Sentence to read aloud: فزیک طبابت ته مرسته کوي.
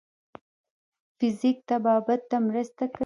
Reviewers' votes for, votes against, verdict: 1, 2, rejected